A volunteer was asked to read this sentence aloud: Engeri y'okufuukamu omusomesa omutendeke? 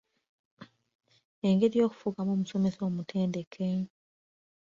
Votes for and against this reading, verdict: 2, 0, accepted